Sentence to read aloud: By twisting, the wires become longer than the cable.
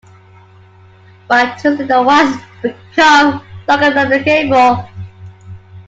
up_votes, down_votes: 1, 2